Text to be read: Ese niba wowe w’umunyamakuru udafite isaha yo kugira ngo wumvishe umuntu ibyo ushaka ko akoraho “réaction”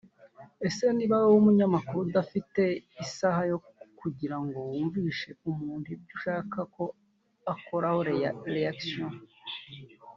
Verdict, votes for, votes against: rejected, 1, 2